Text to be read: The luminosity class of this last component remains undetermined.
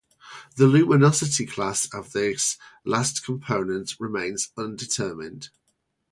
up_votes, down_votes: 4, 0